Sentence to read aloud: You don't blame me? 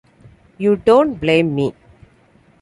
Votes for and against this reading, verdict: 2, 0, accepted